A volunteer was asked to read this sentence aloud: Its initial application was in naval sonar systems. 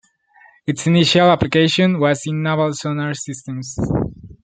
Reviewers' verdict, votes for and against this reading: accepted, 2, 1